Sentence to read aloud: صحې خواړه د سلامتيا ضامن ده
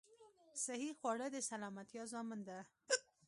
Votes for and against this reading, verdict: 0, 2, rejected